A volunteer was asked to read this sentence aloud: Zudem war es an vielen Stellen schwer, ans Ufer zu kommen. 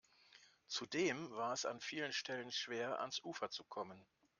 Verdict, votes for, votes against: rejected, 0, 2